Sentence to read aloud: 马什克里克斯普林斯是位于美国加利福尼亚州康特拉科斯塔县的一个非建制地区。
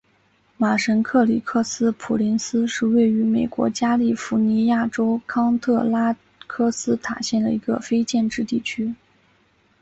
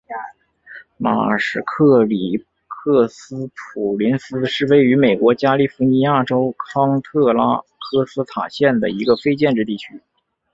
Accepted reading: first